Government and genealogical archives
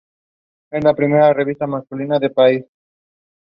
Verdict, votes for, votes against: rejected, 0, 2